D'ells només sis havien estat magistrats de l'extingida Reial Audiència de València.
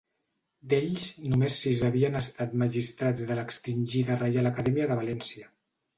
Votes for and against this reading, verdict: 0, 2, rejected